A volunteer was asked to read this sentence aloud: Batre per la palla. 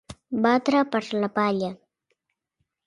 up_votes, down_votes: 2, 0